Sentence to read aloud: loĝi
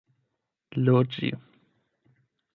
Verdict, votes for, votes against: accepted, 8, 0